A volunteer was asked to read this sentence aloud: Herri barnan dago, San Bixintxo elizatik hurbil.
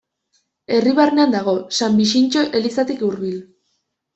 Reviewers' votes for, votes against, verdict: 2, 1, accepted